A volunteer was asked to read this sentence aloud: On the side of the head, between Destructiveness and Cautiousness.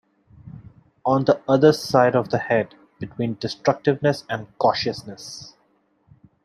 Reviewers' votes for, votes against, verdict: 1, 2, rejected